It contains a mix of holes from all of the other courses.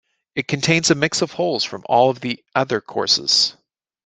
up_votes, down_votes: 2, 0